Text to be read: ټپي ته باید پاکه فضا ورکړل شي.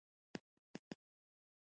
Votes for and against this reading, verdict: 1, 2, rejected